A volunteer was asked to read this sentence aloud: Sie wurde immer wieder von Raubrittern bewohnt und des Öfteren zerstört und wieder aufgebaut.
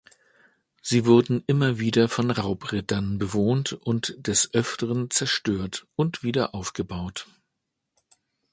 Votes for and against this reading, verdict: 1, 2, rejected